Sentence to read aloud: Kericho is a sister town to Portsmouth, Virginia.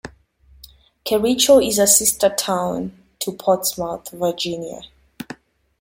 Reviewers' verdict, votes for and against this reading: accepted, 2, 0